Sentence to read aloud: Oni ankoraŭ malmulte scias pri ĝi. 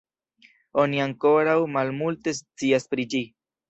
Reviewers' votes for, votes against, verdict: 2, 0, accepted